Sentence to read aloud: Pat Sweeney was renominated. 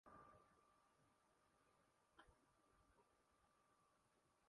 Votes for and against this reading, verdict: 0, 2, rejected